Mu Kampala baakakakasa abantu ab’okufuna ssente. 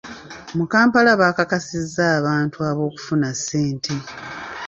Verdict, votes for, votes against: rejected, 0, 2